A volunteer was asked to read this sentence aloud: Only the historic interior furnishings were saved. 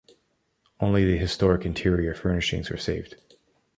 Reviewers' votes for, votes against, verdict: 2, 1, accepted